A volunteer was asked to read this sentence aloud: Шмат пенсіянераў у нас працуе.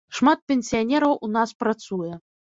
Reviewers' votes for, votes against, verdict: 2, 0, accepted